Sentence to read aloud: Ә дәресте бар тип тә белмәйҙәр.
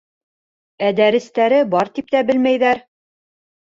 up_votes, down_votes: 0, 2